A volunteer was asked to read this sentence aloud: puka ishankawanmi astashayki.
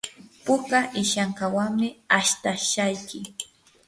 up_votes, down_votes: 2, 0